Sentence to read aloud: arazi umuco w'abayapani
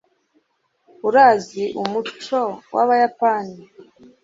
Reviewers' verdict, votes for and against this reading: rejected, 1, 2